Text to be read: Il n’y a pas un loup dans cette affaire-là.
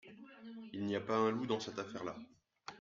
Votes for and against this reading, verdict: 2, 0, accepted